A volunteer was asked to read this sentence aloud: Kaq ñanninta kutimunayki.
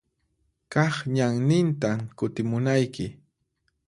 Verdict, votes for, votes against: accepted, 4, 0